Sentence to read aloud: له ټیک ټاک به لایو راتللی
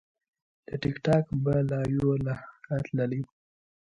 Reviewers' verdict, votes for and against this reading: rejected, 1, 2